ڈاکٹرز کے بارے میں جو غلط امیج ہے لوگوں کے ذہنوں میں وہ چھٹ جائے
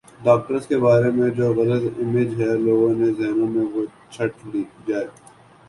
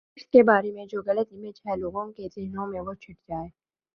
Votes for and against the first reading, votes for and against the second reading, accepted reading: 4, 0, 1, 2, first